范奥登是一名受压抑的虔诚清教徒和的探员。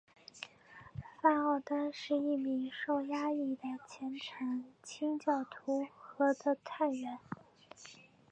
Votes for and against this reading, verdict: 2, 0, accepted